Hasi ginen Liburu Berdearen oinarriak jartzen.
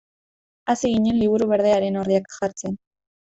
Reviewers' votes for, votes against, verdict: 1, 2, rejected